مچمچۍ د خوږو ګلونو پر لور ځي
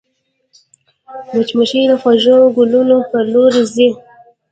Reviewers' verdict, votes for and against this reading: rejected, 0, 2